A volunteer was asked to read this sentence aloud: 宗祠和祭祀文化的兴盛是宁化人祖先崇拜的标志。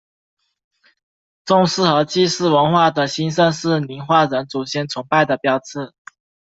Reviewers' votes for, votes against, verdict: 2, 0, accepted